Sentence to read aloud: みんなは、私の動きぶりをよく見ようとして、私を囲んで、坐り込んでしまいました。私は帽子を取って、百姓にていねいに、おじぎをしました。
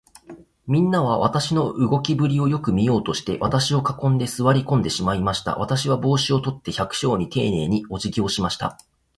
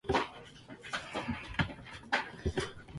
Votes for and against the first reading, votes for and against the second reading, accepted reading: 3, 0, 0, 2, first